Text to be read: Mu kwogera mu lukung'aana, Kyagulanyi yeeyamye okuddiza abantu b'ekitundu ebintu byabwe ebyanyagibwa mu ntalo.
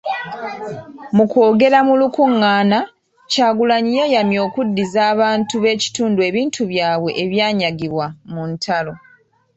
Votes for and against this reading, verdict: 1, 2, rejected